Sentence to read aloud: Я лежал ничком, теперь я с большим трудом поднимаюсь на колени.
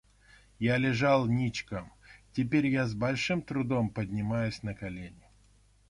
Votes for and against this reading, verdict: 1, 2, rejected